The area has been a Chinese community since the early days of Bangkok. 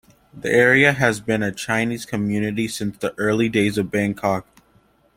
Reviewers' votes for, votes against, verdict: 2, 1, accepted